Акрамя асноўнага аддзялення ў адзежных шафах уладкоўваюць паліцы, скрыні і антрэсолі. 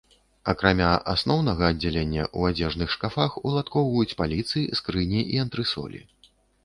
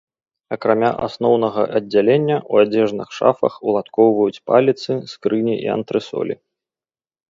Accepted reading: second